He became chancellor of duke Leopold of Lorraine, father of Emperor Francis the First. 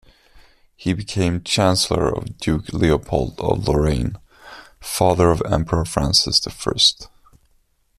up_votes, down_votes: 2, 1